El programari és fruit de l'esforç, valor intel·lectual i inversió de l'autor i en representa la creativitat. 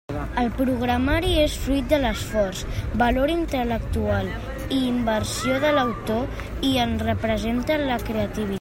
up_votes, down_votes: 0, 2